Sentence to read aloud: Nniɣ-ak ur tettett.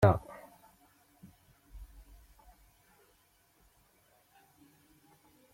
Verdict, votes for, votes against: rejected, 1, 2